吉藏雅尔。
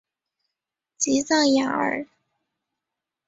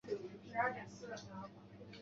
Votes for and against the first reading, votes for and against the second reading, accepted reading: 3, 0, 1, 5, first